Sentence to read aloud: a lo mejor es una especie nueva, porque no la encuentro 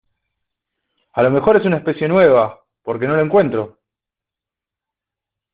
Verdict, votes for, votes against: accepted, 2, 0